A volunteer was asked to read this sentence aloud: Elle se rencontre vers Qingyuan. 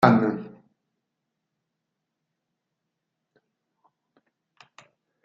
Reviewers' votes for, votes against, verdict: 0, 2, rejected